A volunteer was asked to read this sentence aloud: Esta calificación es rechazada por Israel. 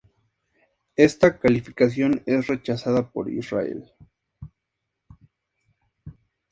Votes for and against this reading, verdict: 2, 0, accepted